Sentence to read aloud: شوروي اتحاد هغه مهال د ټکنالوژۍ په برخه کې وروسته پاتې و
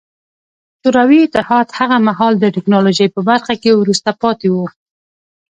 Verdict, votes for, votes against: accepted, 2, 0